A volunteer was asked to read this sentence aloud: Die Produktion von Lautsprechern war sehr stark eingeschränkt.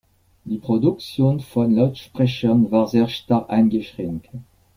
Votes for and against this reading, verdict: 2, 0, accepted